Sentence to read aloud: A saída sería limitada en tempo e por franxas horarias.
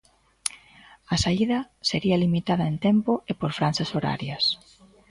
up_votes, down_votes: 1, 2